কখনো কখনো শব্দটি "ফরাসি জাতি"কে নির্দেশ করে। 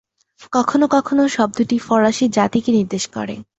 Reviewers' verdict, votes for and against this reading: accepted, 10, 0